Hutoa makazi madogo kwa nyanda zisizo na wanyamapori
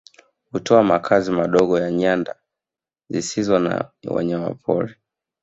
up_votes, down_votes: 1, 2